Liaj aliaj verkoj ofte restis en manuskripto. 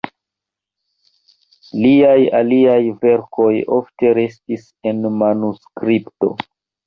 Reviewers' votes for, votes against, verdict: 2, 1, accepted